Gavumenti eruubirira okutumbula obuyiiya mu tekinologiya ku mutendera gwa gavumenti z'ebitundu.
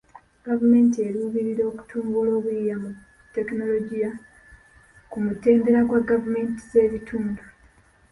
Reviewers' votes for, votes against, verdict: 1, 2, rejected